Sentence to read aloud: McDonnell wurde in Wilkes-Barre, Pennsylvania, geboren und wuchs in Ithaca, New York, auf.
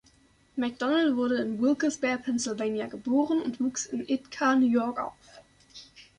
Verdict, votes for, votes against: rejected, 0, 2